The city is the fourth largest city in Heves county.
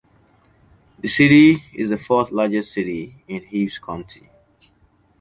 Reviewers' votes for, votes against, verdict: 2, 1, accepted